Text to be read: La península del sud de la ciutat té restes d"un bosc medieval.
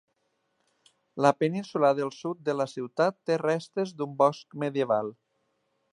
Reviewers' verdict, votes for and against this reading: accepted, 6, 0